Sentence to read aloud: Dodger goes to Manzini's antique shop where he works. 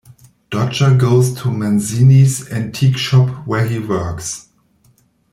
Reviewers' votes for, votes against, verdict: 0, 2, rejected